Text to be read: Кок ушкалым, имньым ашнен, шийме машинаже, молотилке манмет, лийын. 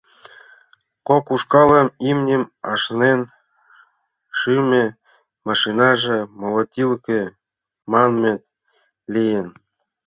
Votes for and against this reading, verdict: 0, 2, rejected